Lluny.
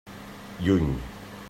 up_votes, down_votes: 3, 0